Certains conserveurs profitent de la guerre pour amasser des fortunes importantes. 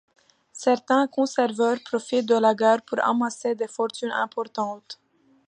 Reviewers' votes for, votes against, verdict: 1, 2, rejected